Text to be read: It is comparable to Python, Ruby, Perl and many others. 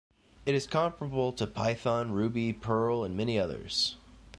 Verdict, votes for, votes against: rejected, 1, 2